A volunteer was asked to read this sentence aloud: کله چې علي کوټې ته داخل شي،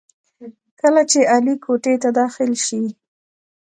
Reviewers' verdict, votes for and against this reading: accepted, 2, 0